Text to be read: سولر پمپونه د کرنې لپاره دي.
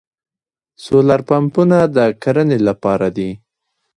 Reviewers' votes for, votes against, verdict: 2, 1, accepted